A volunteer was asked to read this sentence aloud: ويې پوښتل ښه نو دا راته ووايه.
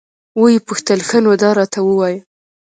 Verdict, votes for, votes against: rejected, 1, 2